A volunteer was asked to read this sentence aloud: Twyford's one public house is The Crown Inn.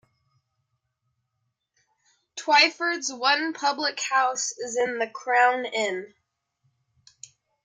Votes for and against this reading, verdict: 0, 2, rejected